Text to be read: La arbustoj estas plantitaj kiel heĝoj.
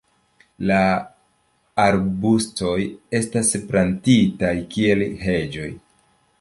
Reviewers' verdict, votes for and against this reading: rejected, 1, 2